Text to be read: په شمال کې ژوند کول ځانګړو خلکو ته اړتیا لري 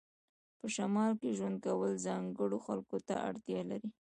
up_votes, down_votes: 2, 0